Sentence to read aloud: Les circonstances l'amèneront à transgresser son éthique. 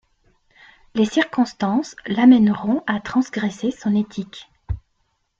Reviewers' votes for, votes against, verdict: 3, 0, accepted